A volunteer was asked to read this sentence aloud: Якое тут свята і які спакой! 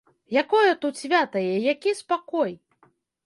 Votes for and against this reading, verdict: 2, 0, accepted